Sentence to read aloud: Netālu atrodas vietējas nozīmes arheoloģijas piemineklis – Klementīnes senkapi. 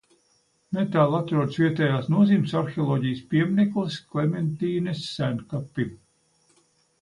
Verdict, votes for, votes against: accepted, 2, 0